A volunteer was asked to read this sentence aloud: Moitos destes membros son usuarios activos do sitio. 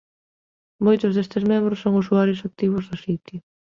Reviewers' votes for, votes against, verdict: 2, 0, accepted